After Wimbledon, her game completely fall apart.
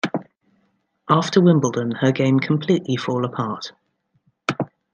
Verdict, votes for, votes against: accepted, 2, 1